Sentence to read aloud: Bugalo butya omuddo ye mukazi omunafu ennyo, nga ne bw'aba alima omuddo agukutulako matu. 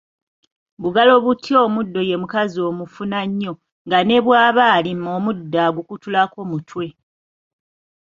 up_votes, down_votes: 0, 2